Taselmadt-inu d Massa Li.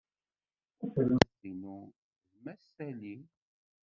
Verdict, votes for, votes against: rejected, 0, 2